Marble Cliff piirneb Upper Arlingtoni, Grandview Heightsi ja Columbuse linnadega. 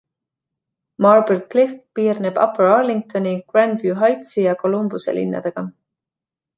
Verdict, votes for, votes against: accepted, 2, 1